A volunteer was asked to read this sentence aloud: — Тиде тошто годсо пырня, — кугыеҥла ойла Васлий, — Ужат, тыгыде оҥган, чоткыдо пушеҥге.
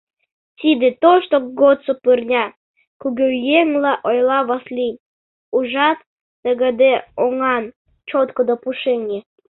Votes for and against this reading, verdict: 0, 2, rejected